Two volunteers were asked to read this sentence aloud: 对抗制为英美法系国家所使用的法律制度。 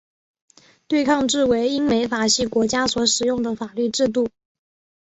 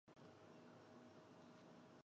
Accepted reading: first